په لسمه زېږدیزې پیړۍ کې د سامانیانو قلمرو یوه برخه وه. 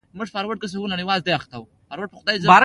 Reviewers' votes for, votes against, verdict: 2, 0, accepted